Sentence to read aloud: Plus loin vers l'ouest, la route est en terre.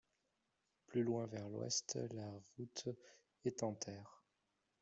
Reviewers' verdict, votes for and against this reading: accepted, 2, 1